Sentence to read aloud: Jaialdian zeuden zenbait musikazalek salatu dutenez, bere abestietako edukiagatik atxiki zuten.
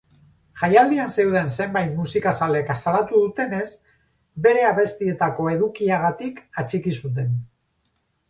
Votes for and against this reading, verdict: 4, 0, accepted